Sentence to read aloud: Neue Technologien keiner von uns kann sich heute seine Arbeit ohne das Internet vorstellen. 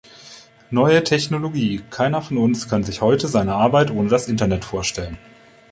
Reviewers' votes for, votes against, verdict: 0, 2, rejected